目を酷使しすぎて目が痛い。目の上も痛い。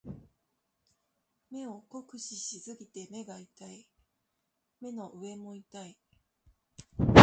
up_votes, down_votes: 2, 0